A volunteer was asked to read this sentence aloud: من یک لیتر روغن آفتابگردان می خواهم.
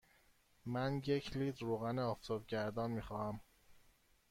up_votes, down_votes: 1, 2